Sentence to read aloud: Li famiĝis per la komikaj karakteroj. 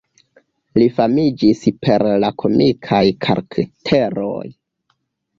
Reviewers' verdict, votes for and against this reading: accepted, 2, 1